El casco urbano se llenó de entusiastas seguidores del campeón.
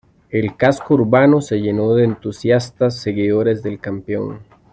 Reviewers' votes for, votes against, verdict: 2, 0, accepted